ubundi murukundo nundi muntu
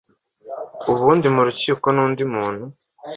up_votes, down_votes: 1, 2